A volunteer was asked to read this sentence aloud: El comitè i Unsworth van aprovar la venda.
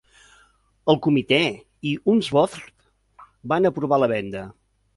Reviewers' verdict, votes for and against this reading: accepted, 2, 1